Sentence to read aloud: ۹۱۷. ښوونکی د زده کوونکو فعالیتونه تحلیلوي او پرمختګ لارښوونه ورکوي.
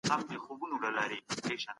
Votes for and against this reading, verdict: 0, 2, rejected